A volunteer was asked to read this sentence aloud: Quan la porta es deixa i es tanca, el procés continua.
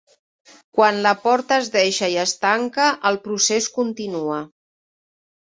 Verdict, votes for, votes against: accepted, 3, 0